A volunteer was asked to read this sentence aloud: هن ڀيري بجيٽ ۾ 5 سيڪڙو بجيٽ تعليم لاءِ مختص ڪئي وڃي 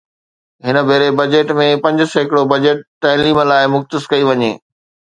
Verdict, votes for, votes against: rejected, 0, 2